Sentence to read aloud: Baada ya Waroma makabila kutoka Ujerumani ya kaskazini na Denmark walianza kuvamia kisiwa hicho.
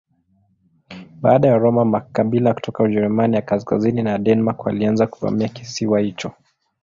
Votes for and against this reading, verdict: 2, 0, accepted